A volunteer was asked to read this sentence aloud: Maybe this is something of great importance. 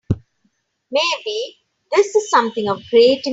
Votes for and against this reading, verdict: 0, 3, rejected